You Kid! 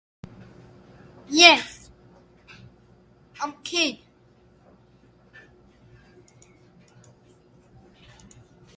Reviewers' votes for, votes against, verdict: 0, 2, rejected